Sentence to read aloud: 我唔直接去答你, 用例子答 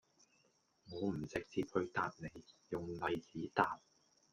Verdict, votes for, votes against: rejected, 1, 2